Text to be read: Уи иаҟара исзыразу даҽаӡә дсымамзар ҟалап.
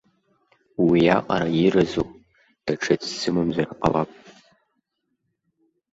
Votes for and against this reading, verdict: 1, 2, rejected